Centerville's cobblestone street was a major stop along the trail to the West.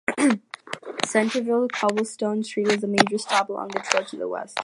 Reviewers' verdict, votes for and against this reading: accepted, 2, 0